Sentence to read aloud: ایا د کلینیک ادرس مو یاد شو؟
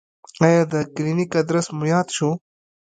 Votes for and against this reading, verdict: 1, 2, rejected